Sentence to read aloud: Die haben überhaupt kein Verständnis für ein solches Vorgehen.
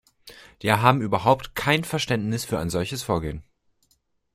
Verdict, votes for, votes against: accepted, 2, 0